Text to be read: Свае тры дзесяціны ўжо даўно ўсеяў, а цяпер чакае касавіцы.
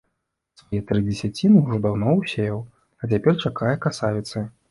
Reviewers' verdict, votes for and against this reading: rejected, 1, 2